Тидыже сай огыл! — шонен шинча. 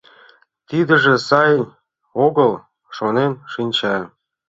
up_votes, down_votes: 2, 0